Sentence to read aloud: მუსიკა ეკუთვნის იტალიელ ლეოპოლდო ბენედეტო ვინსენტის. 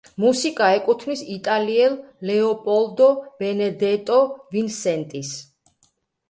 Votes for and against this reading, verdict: 0, 2, rejected